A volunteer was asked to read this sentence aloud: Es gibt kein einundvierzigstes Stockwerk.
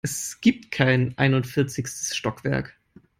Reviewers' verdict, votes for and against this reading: accepted, 3, 0